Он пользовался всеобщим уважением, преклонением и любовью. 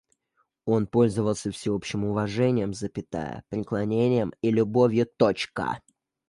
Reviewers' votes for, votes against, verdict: 1, 2, rejected